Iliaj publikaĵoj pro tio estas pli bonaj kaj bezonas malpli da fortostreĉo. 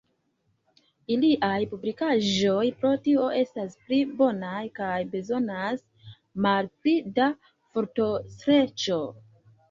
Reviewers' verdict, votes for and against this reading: accepted, 2, 0